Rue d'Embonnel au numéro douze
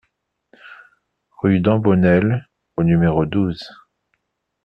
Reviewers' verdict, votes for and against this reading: accepted, 2, 0